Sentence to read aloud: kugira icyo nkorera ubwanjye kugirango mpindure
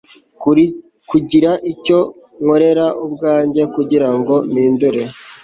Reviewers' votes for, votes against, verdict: 1, 2, rejected